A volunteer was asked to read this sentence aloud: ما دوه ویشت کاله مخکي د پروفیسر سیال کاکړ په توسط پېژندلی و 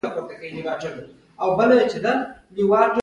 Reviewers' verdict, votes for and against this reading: rejected, 1, 2